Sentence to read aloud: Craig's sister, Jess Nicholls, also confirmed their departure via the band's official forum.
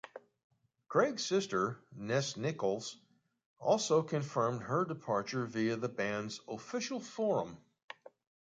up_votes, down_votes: 1, 2